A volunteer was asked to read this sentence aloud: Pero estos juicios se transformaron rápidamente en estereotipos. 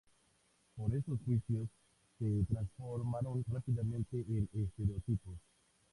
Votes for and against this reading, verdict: 0, 4, rejected